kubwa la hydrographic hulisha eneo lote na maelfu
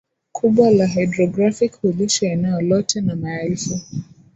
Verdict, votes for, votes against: accepted, 2, 0